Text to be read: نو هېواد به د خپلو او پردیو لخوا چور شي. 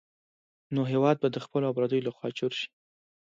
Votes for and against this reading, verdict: 2, 0, accepted